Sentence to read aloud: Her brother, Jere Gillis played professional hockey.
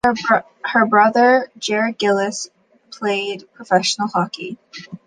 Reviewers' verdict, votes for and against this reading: rejected, 0, 2